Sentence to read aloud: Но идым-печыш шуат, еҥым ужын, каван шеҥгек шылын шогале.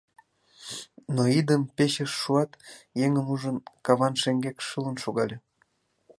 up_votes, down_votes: 2, 0